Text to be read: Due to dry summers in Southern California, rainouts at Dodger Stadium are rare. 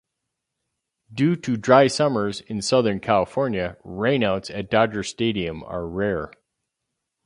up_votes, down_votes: 4, 0